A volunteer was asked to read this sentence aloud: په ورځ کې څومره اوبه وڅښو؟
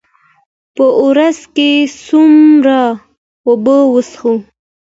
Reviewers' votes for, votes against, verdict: 2, 0, accepted